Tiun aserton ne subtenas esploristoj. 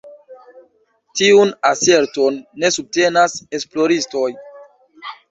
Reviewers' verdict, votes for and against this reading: accepted, 2, 1